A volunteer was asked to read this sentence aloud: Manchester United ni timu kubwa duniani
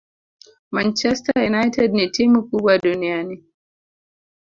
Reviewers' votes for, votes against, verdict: 2, 0, accepted